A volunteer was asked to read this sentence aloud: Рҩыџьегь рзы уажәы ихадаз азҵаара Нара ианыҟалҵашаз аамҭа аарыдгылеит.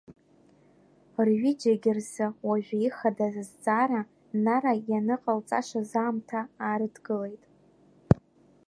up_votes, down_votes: 2, 0